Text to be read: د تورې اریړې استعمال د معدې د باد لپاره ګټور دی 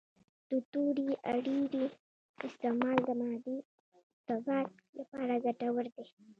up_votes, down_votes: 2, 0